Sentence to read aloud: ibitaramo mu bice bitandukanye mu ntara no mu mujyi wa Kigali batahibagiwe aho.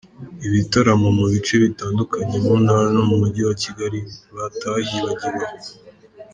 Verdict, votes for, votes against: rejected, 2, 3